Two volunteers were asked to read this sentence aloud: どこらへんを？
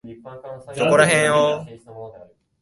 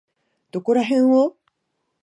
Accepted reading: second